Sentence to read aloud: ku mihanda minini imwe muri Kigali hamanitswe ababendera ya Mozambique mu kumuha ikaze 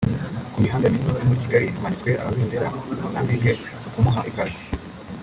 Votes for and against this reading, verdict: 0, 3, rejected